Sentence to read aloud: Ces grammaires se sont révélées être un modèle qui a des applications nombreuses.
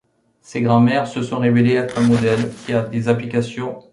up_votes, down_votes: 0, 2